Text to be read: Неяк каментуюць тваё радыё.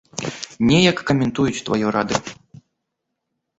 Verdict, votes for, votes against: accepted, 3, 1